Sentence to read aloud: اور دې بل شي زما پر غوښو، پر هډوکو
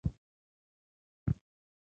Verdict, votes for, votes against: rejected, 1, 2